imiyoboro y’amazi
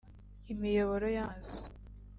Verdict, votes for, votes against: rejected, 0, 2